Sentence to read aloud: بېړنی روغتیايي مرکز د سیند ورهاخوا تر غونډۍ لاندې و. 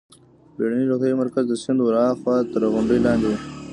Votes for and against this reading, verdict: 1, 2, rejected